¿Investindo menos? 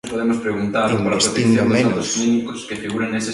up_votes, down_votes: 0, 2